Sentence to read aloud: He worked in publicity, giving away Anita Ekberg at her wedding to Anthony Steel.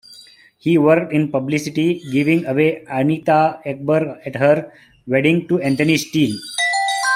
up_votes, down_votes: 2, 1